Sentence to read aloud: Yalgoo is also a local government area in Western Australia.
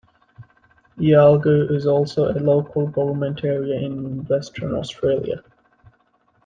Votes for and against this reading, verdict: 2, 0, accepted